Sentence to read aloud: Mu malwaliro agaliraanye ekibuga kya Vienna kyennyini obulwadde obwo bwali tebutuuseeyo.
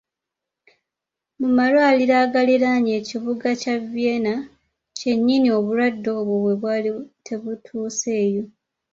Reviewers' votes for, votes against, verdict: 0, 2, rejected